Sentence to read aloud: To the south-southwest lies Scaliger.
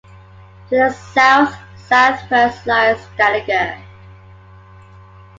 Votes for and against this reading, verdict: 2, 1, accepted